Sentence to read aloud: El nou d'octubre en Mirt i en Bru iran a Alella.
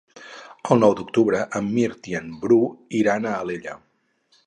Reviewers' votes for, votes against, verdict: 4, 0, accepted